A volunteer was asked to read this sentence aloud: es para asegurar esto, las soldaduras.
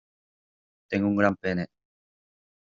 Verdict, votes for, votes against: rejected, 0, 2